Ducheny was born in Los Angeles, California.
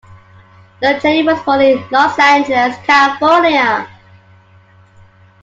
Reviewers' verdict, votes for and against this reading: rejected, 1, 2